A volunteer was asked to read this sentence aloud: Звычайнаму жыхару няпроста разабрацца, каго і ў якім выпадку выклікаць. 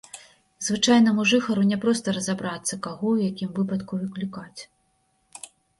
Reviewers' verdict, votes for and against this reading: rejected, 1, 2